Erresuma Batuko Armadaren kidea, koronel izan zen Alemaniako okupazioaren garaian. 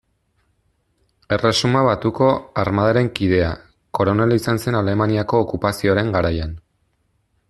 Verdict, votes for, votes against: accepted, 2, 0